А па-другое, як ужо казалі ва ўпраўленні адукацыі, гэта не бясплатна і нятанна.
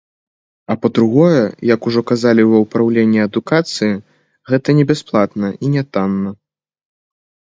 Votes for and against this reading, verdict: 2, 0, accepted